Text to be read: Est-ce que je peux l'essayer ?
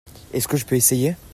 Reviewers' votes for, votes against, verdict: 0, 2, rejected